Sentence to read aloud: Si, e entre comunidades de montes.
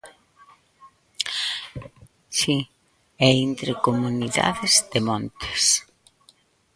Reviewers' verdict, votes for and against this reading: rejected, 0, 2